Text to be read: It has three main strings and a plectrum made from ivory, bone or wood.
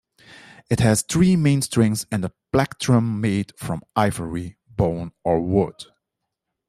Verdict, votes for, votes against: accepted, 2, 0